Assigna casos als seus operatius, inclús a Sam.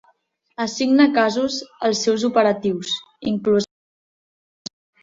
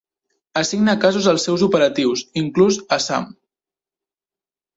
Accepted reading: second